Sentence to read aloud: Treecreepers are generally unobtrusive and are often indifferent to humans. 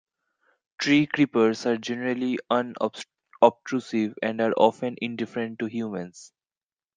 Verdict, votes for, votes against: rejected, 0, 2